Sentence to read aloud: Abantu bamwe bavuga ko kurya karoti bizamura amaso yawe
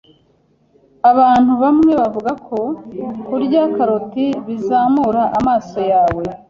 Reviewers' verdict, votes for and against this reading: accepted, 2, 0